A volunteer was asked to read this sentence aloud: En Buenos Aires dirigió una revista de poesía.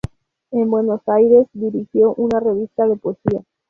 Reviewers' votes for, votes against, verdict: 4, 0, accepted